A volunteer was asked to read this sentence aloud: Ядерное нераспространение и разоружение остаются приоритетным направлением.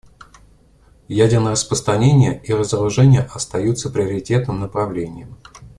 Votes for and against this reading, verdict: 1, 2, rejected